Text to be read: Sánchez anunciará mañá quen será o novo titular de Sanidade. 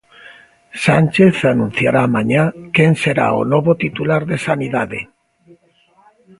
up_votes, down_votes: 2, 1